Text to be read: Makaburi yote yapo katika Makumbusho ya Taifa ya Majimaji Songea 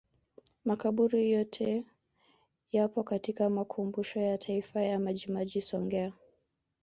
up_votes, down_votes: 2, 0